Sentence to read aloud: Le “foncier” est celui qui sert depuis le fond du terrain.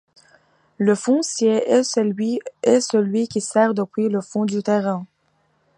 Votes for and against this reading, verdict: 0, 2, rejected